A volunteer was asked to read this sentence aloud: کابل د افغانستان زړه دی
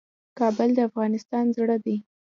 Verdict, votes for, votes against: accepted, 2, 1